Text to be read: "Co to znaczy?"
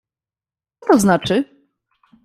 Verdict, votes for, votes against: rejected, 0, 2